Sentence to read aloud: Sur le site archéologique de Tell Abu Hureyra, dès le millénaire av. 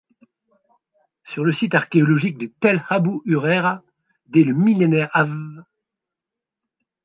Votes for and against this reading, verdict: 0, 2, rejected